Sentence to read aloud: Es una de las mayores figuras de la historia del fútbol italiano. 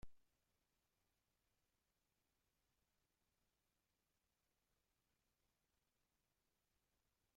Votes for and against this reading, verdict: 0, 2, rejected